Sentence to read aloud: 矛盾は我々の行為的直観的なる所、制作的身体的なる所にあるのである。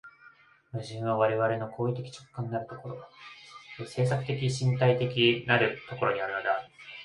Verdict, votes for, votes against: rejected, 1, 2